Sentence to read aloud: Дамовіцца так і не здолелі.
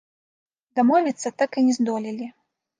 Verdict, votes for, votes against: rejected, 1, 2